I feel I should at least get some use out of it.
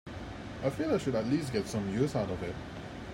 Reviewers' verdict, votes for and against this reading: accepted, 2, 0